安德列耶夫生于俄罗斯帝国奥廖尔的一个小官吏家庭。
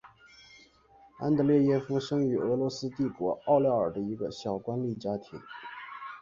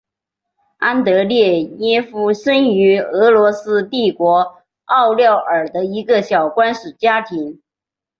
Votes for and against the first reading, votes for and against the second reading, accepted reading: 3, 3, 2, 0, second